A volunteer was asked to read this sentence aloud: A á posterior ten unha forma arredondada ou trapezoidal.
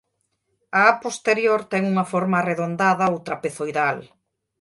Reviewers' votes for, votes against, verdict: 2, 0, accepted